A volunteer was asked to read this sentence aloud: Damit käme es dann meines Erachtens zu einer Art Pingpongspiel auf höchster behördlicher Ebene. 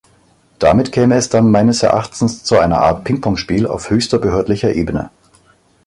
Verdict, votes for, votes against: accepted, 2, 0